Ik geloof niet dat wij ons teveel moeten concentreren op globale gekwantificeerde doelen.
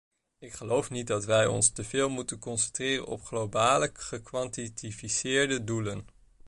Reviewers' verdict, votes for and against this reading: rejected, 0, 2